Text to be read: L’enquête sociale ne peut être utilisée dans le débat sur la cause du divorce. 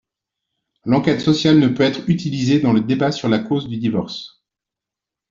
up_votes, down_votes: 2, 0